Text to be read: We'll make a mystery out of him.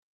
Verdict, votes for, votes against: rejected, 0, 3